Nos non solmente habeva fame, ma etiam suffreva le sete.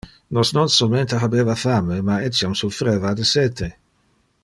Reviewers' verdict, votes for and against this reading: accepted, 2, 1